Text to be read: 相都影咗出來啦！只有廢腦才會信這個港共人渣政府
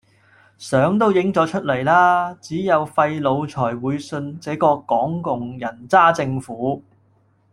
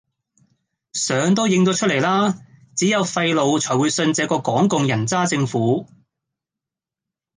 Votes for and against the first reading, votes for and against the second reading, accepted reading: 2, 0, 1, 2, first